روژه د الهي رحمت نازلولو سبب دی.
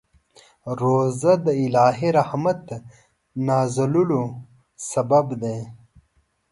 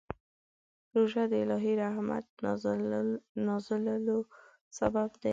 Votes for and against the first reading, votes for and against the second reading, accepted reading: 2, 0, 0, 2, first